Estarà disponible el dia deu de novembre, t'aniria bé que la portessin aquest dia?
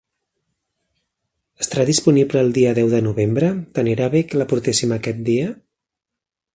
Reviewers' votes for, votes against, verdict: 1, 2, rejected